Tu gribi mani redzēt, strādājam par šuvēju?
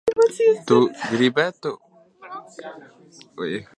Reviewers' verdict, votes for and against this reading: rejected, 0, 2